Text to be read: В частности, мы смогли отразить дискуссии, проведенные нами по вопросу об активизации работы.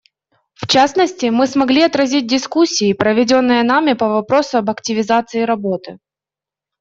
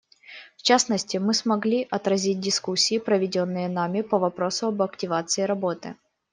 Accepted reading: first